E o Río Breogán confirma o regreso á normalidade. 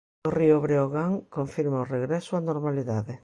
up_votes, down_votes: 0, 2